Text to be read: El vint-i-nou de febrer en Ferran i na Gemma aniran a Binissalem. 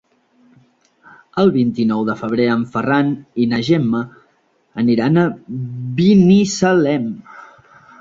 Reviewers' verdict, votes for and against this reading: rejected, 0, 2